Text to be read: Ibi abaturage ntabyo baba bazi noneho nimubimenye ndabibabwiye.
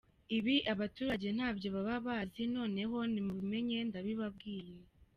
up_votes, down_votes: 3, 0